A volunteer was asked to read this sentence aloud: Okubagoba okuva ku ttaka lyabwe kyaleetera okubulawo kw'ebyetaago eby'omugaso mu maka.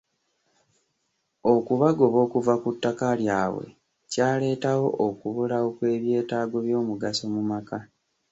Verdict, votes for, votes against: rejected, 0, 3